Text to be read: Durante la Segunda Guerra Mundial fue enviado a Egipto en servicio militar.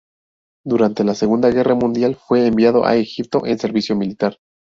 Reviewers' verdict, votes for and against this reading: rejected, 2, 2